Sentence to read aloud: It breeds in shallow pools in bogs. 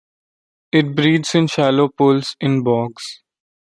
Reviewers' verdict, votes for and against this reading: accepted, 2, 0